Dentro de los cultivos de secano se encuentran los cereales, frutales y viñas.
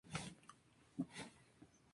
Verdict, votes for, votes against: rejected, 0, 2